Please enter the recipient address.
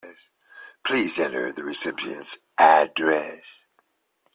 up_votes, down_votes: 1, 2